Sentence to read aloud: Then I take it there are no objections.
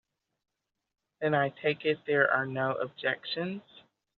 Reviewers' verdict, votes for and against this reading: accepted, 3, 0